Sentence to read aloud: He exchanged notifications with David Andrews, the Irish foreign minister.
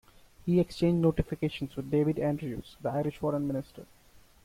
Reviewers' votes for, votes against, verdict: 2, 1, accepted